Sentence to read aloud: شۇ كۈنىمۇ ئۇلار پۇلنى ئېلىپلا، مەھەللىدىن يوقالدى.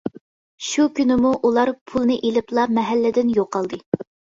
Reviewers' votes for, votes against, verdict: 2, 0, accepted